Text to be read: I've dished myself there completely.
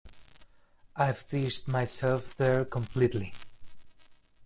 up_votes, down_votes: 0, 2